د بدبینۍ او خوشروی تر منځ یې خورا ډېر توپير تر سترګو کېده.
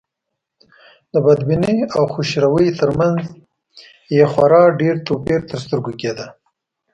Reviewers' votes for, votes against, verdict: 2, 0, accepted